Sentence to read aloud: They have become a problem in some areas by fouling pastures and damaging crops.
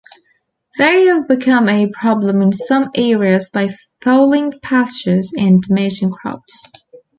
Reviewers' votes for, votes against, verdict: 1, 2, rejected